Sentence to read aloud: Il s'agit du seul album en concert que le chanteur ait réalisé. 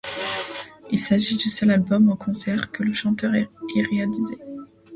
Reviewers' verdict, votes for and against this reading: rejected, 0, 2